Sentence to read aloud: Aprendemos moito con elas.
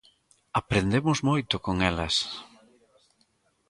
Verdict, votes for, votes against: rejected, 1, 2